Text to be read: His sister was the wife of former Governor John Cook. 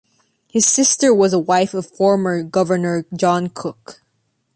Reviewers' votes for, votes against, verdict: 2, 0, accepted